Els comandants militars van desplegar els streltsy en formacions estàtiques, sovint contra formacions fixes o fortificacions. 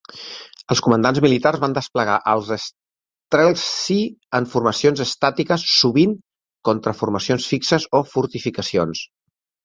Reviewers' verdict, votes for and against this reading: accepted, 3, 2